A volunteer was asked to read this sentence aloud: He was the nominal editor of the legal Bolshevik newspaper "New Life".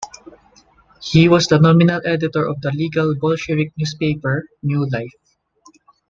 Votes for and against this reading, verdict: 2, 0, accepted